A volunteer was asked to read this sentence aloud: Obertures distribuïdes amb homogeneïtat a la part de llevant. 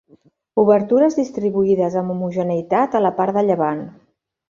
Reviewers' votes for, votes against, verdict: 2, 0, accepted